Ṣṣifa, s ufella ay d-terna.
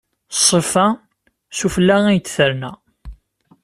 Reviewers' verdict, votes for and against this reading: accepted, 2, 0